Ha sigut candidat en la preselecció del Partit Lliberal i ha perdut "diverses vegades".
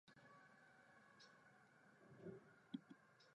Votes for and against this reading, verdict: 1, 2, rejected